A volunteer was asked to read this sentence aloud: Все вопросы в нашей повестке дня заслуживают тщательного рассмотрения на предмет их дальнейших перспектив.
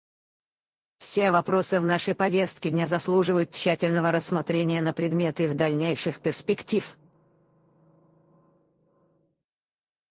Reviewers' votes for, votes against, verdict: 0, 4, rejected